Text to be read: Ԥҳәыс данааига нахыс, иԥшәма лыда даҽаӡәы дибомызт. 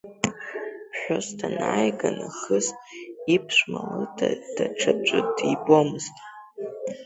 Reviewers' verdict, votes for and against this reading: accepted, 2, 1